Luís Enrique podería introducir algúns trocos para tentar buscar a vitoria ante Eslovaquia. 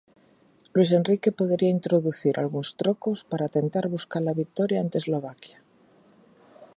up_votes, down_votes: 4, 0